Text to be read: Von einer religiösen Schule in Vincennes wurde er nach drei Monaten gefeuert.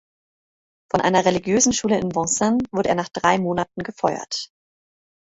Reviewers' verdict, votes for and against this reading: rejected, 0, 2